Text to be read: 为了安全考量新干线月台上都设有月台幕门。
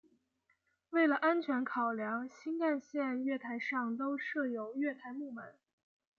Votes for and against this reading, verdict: 2, 0, accepted